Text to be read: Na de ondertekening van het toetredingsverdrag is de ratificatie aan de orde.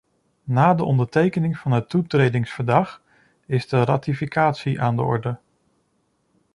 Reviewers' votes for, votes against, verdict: 2, 1, accepted